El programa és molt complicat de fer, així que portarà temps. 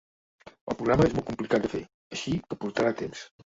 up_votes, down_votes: 2, 4